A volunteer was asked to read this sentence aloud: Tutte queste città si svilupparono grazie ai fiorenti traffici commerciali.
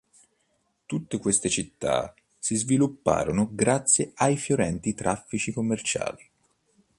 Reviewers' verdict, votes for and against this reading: accepted, 2, 0